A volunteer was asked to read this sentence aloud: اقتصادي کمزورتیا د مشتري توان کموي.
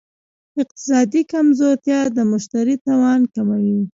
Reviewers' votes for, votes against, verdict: 1, 2, rejected